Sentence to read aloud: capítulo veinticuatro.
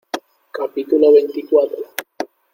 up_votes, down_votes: 2, 0